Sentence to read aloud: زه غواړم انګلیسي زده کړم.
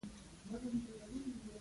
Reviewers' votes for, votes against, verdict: 0, 2, rejected